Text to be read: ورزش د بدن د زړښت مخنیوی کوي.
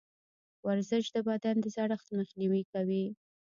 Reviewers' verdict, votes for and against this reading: rejected, 0, 2